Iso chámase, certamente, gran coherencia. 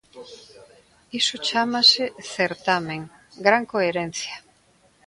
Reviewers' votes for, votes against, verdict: 0, 2, rejected